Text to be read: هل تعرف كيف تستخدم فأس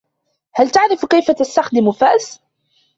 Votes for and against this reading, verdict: 2, 1, accepted